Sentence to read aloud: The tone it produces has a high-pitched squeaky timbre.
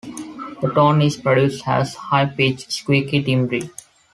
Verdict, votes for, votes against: rejected, 0, 2